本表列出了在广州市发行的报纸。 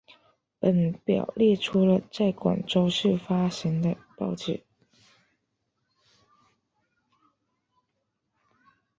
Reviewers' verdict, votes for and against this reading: rejected, 1, 2